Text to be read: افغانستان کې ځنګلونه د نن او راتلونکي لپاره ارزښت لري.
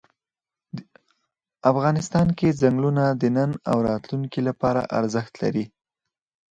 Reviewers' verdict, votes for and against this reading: accepted, 4, 0